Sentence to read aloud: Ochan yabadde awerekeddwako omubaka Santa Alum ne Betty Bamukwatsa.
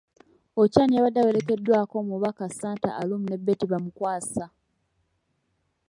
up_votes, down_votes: 0, 2